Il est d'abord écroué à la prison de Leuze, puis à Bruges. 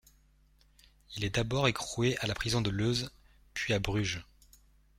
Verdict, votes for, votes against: rejected, 1, 2